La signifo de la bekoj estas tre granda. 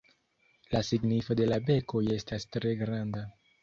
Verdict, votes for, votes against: accepted, 2, 1